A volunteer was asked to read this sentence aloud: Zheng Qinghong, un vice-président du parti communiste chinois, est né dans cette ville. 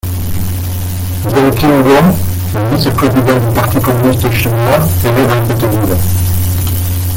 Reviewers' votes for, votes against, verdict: 0, 2, rejected